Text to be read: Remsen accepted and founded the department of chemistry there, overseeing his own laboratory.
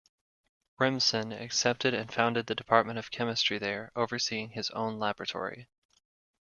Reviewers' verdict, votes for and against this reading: accepted, 2, 0